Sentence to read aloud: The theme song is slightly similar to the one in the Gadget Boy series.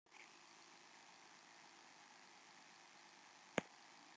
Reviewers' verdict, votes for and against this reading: rejected, 0, 2